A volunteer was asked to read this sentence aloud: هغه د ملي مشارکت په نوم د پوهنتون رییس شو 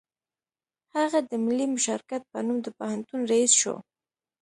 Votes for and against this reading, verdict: 2, 0, accepted